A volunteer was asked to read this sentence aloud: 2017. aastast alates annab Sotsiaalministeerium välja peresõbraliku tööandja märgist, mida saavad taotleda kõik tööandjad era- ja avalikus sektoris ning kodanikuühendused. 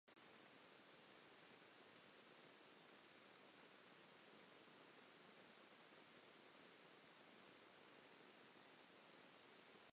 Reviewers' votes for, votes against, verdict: 0, 2, rejected